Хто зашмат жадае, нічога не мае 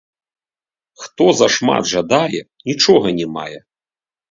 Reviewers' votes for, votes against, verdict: 0, 2, rejected